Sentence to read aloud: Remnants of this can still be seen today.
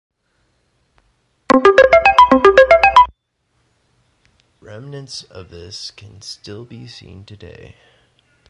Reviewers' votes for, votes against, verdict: 1, 3, rejected